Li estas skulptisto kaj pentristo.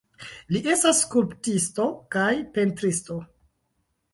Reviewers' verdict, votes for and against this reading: accepted, 2, 1